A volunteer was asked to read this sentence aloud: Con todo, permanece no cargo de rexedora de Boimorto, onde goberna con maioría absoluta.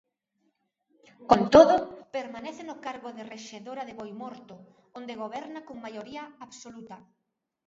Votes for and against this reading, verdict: 0, 2, rejected